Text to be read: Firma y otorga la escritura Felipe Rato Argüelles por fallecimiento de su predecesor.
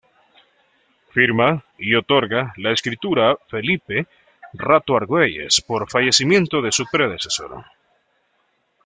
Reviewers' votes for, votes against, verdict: 2, 0, accepted